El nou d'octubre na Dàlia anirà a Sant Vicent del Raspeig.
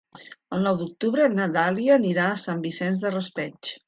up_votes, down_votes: 1, 2